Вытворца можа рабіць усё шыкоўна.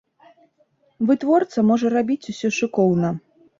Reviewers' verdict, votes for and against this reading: accepted, 2, 0